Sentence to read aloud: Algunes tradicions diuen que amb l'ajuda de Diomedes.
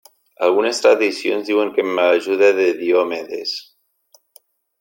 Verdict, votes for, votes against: rejected, 1, 2